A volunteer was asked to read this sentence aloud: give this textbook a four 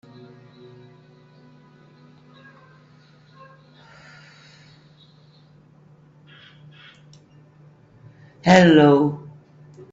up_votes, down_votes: 0, 2